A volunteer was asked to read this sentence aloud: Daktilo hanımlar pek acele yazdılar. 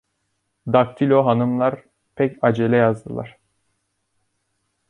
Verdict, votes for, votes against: rejected, 1, 2